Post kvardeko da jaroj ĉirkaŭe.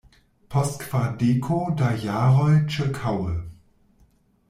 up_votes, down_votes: 1, 2